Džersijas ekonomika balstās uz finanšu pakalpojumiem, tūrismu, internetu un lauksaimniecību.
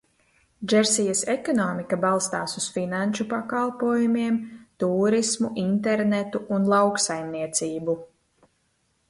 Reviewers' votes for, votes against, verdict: 2, 0, accepted